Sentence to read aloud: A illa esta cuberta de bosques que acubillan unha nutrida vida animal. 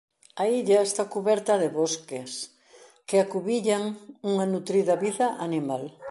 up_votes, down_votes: 2, 0